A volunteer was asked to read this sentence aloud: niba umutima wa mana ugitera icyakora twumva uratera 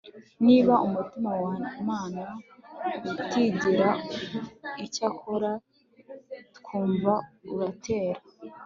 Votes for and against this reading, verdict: 0, 2, rejected